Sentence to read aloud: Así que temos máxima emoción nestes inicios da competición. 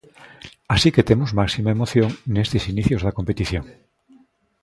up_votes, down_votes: 2, 0